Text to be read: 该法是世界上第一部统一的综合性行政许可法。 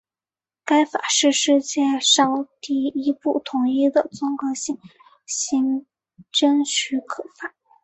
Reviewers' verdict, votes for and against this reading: accepted, 2, 1